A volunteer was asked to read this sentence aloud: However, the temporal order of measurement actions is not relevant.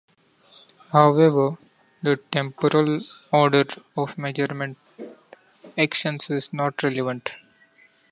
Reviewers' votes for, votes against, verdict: 2, 0, accepted